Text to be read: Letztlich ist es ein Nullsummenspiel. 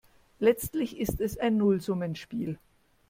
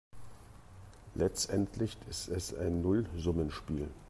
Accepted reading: first